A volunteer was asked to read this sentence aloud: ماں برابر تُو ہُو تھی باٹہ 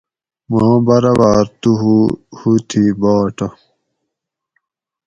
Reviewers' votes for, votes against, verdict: 2, 2, rejected